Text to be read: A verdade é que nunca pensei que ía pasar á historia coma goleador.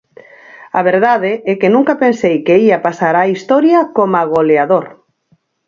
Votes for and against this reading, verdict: 4, 2, accepted